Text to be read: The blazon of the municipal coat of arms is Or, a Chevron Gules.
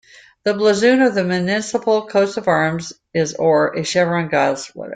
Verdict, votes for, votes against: rejected, 0, 2